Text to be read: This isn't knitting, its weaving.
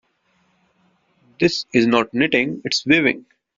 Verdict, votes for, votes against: rejected, 1, 2